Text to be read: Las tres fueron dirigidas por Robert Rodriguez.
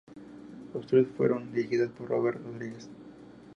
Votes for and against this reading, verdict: 0, 4, rejected